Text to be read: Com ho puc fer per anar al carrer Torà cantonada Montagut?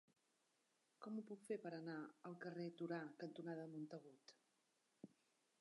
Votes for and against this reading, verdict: 2, 1, accepted